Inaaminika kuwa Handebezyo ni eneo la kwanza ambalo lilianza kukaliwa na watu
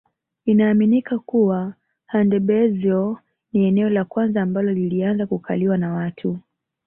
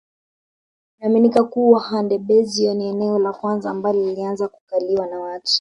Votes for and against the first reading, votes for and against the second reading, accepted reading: 2, 0, 0, 2, first